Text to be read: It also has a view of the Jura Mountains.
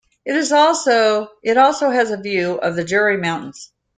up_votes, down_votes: 0, 2